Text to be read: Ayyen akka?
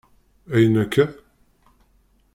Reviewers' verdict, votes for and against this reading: accepted, 2, 1